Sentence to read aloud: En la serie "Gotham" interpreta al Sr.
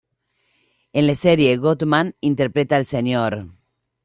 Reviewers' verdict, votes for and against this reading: rejected, 0, 2